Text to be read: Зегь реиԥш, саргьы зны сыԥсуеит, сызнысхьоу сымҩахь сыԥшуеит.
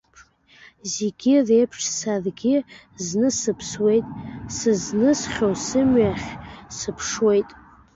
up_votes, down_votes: 2, 0